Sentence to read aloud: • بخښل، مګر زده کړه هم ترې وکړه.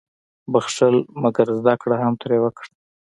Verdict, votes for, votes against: accepted, 2, 1